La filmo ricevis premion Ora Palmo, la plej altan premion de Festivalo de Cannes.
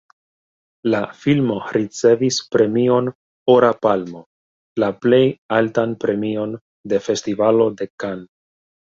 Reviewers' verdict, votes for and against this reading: rejected, 1, 2